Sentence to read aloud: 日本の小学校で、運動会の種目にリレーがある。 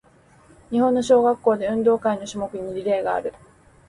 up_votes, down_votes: 2, 0